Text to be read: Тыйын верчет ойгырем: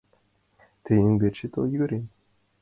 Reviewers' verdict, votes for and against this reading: accepted, 2, 0